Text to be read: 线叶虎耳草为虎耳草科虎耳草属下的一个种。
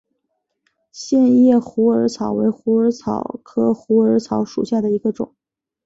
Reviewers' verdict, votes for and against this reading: accepted, 4, 1